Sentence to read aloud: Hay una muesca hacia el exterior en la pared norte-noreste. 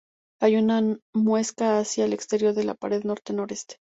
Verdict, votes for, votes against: rejected, 0, 2